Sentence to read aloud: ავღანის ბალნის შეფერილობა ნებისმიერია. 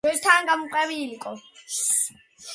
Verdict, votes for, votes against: accepted, 2, 1